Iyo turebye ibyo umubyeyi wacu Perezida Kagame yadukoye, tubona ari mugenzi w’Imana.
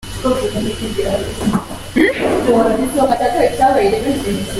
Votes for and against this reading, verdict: 0, 2, rejected